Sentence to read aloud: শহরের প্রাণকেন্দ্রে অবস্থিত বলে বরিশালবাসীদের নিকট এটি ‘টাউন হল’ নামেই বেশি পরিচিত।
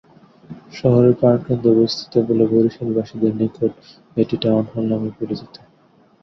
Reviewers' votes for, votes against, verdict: 0, 3, rejected